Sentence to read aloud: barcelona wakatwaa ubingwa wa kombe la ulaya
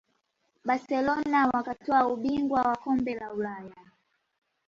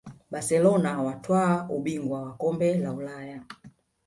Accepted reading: first